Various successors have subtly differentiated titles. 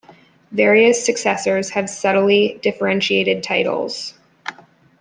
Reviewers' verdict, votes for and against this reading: accepted, 2, 0